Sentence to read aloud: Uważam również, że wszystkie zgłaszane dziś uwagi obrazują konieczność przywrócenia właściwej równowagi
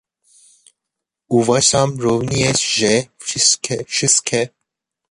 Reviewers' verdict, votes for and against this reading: rejected, 0, 2